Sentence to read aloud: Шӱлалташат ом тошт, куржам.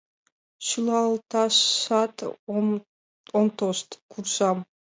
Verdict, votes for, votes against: accepted, 2, 0